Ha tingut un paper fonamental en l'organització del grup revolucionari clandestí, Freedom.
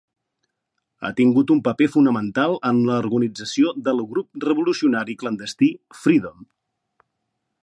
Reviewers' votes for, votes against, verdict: 0, 2, rejected